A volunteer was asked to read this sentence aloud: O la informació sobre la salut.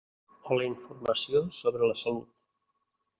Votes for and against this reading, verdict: 1, 2, rejected